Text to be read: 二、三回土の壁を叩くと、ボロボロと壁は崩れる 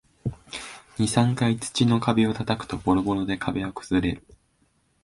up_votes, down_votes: 1, 2